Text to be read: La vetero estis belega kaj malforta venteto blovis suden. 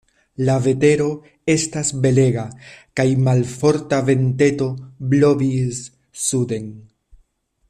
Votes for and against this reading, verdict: 0, 2, rejected